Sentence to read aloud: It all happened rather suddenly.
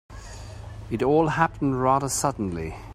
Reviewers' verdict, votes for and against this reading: accepted, 2, 0